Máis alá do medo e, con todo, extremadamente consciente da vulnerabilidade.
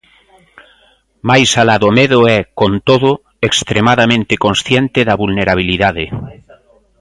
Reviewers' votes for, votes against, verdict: 2, 0, accepted